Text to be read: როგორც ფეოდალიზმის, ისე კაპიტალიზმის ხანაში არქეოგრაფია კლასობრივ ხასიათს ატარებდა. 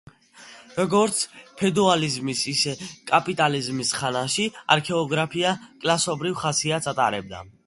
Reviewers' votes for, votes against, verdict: 0, 2, rejected